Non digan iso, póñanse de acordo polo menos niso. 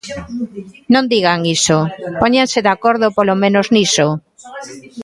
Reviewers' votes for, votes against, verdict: 0, 2, rejected